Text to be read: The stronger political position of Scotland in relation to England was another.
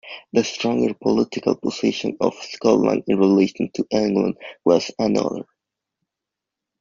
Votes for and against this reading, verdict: 2, 0, accepted